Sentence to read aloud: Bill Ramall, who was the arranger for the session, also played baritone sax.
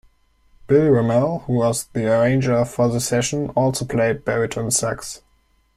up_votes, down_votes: 2, 0